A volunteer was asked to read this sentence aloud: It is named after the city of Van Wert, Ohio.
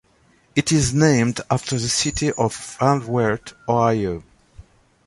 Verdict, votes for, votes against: accepted, 2, 0